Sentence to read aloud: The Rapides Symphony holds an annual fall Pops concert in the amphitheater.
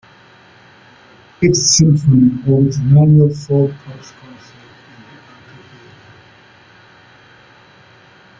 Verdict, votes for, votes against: rejected, 0, 2